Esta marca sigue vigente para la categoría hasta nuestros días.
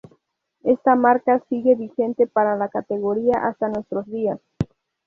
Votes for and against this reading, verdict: 2, 0, accepted